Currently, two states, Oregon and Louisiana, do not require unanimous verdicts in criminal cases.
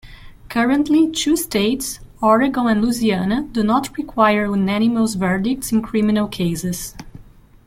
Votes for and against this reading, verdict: 2, 1, accepted